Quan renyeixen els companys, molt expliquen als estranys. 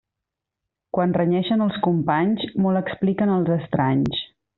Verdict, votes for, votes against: accepted, 2, 0